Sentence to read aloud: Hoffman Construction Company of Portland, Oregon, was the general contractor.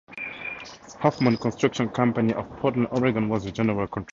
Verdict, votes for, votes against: rejected, 0, 2